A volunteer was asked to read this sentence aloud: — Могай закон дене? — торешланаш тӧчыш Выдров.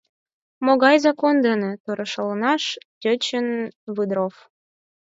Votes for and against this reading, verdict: 2, 4, rejected